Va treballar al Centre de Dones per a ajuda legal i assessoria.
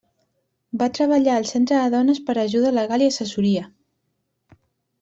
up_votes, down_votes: 1, 2